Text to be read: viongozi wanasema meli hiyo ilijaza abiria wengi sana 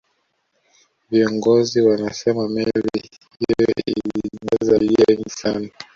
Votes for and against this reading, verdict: 1, 2, rejected